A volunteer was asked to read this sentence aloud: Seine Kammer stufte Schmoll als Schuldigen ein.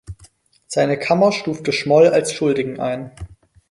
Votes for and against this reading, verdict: 4, 0, accepted